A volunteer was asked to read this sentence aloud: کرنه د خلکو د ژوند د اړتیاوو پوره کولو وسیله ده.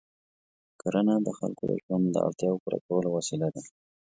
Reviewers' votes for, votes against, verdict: 2, 0, accepted